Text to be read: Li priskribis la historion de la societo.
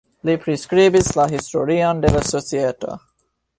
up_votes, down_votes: 1, 2